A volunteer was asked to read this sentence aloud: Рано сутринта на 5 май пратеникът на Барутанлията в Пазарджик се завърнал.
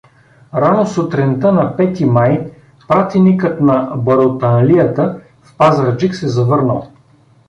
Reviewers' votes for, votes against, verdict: 0, 2, rejected